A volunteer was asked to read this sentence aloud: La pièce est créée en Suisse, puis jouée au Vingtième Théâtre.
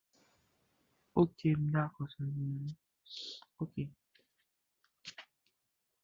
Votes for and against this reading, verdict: 0, 2, rejected